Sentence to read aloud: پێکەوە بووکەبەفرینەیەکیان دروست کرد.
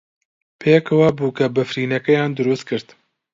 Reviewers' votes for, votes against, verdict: 2, 0, accepted